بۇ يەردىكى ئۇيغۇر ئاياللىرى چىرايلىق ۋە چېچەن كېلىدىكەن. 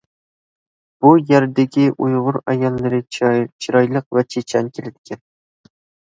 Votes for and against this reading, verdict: 1, 2, rejected